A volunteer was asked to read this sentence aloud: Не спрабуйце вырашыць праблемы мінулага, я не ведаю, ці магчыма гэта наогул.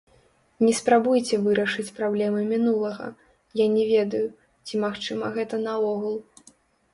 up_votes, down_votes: 1, 2